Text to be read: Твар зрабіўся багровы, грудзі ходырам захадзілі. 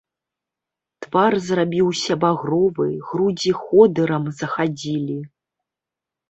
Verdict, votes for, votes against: accepted, 3, 0